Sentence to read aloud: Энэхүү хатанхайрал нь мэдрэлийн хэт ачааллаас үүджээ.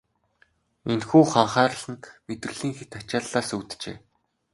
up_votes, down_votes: 0, 2